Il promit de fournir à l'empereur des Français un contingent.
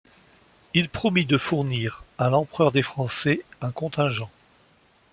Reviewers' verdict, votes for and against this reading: accepted, 2, 0